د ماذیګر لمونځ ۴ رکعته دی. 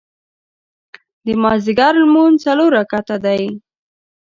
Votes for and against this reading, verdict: 0, 2, rejected